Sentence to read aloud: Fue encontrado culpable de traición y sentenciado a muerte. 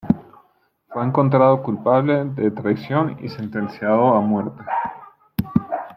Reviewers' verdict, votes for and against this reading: accepted, 2, 1